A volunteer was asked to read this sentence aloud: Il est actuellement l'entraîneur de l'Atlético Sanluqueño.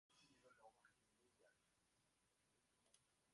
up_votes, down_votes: 0, 2